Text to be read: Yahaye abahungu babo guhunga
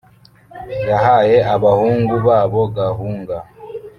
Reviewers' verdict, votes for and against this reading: rejected, 1, 2